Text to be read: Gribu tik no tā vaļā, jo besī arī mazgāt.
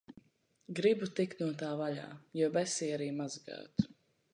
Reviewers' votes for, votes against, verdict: 2, 0, accepted